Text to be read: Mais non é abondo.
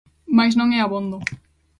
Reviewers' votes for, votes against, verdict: 2, 0, accepted